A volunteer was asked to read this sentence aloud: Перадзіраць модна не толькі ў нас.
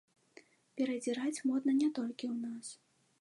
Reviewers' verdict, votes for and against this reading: accepted, 2, 0